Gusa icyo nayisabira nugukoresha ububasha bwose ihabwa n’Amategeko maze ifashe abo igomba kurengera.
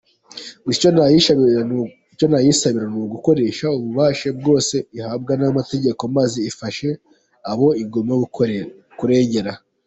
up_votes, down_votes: 0, 3